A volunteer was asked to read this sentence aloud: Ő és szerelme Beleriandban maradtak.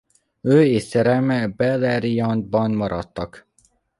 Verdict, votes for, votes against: rejected, 0, 2